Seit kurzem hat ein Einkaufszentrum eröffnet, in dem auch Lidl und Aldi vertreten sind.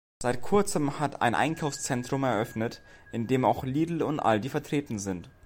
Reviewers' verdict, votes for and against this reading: accepted, 2, 0